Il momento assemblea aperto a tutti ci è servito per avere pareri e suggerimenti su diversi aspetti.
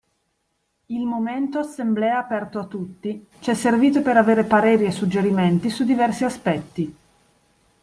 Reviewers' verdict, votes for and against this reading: accepted, 2, 0